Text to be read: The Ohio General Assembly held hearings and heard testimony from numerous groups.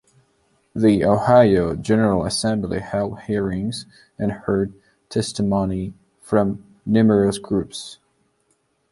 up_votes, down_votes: 2, 1